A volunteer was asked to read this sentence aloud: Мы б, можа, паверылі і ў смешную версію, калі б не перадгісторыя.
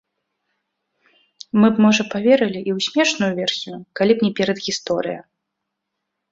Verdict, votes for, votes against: accepted, 3, 0